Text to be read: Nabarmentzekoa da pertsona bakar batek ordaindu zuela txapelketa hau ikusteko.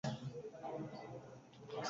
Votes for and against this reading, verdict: 0, 4, rejected